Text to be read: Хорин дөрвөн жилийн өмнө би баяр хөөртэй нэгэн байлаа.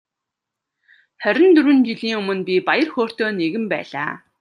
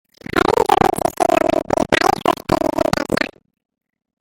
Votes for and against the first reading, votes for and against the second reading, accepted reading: 2, 0, 0, 2, first